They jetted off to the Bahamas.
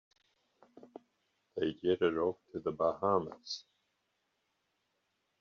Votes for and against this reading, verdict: 1, 2, rejected